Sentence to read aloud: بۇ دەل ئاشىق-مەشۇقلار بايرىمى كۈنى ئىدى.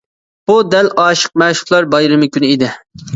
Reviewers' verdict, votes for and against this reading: accepted, 2, 0